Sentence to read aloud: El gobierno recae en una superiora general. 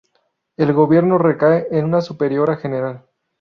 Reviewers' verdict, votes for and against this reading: accepted, 2, 0